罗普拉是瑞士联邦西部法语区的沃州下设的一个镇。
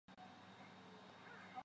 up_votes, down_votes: 0, 3